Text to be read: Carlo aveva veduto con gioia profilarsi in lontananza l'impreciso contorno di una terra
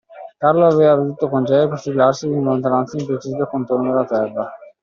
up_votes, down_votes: 0, 2